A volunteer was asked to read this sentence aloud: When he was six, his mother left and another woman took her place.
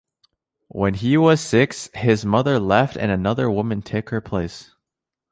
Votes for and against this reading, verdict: 0, 2, rejected